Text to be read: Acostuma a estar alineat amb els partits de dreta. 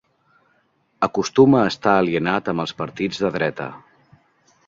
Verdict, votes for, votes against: rejected, 1, 2